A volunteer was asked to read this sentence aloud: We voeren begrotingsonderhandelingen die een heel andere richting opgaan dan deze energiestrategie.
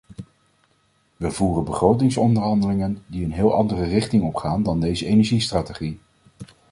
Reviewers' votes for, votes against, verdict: 2, 0, accepted